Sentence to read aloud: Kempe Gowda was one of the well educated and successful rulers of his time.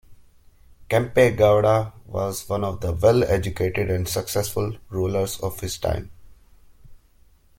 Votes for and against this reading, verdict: 2, 1, accepted